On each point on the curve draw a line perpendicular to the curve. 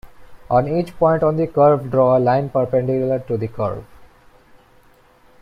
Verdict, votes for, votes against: rejected, 1, 2